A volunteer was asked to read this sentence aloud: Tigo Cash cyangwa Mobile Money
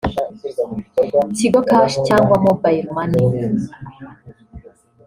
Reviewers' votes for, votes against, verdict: 2, 0, accepted